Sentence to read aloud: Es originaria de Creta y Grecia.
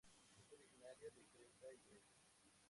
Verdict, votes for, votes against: rejected, 0, 2